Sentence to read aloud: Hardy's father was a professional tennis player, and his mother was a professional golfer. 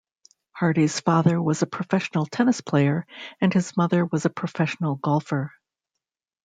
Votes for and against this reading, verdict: 2, 0, accepted